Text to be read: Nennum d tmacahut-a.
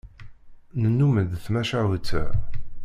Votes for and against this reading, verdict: 1, 2, rejected